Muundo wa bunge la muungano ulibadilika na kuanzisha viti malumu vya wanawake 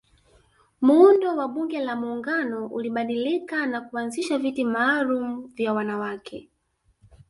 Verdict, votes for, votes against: accepted, 2, 1